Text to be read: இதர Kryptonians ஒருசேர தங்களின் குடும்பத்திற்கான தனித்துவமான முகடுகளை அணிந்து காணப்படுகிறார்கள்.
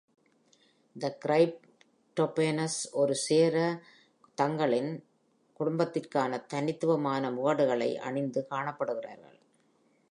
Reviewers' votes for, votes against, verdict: 0, 2, rejected